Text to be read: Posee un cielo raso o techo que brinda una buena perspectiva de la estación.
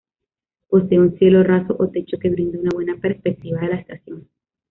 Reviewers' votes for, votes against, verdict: 1, 2, rejected